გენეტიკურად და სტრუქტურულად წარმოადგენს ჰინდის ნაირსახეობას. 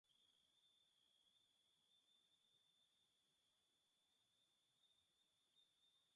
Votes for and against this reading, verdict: 0, 2, rejected